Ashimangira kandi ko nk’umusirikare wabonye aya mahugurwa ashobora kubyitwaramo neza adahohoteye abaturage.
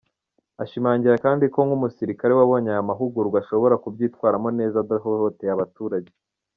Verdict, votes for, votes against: accepted, 2, 0